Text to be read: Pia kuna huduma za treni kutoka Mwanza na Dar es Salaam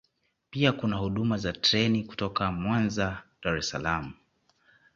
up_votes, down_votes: 2, 0